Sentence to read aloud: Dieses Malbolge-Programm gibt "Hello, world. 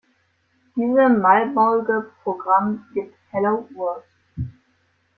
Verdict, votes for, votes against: rejected, 1, 2